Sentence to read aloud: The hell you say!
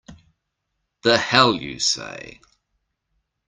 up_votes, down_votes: 2, 0